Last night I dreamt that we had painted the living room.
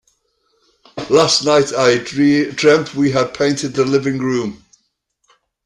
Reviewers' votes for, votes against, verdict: 0, 2, rejected